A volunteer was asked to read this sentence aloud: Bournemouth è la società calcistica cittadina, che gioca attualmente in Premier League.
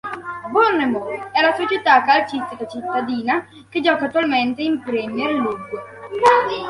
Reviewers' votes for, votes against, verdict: 2, 1, accepted